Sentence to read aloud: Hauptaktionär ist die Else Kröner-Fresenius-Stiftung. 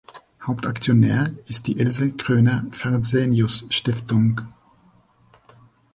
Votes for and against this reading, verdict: 0, 2, rejected